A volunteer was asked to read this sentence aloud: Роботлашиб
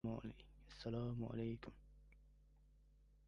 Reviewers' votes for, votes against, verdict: 0, 2, rejected